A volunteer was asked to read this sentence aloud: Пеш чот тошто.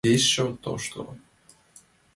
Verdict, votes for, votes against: accepted, 2, 0